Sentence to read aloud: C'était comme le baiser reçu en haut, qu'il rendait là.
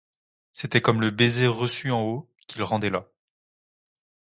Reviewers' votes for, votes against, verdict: 2, 0, accepted